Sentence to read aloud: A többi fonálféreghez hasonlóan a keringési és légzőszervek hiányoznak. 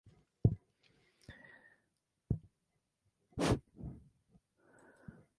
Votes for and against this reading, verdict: 0, 4, rejected